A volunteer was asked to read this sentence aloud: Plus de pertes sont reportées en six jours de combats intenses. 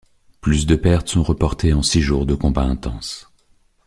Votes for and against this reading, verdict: 0, 2, rejected